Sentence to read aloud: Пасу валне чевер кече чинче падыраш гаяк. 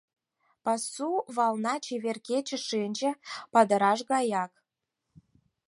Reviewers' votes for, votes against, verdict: 0, 4, rejected